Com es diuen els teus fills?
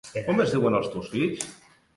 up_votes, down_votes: 0, 2